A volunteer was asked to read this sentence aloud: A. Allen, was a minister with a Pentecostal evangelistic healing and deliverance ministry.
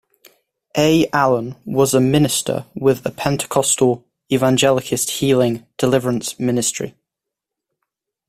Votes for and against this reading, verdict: 1, 2, rejected